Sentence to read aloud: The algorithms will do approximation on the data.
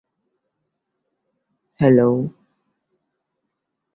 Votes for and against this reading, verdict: 0, 2, rejected